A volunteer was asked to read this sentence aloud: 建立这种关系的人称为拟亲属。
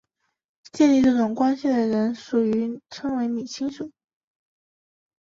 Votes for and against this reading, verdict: 0, 2, rejected